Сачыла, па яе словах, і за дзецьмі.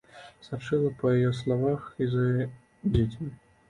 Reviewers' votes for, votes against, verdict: 1, 2, rejected